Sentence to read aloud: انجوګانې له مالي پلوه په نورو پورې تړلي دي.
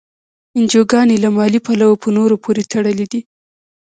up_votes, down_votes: 1, 2